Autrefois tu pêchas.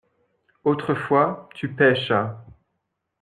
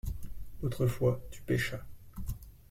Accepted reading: second